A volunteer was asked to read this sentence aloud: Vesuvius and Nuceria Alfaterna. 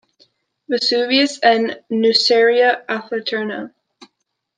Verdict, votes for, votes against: accepted, 2, 0